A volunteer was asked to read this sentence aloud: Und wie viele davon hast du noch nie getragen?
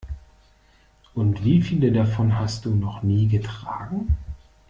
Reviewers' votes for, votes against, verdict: 2, 0, accepted